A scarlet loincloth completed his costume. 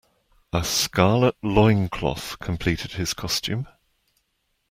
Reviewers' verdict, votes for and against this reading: accepted, 2, 1